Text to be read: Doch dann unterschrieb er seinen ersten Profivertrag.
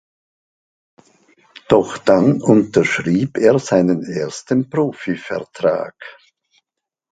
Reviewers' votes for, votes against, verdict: 3, 0, accepted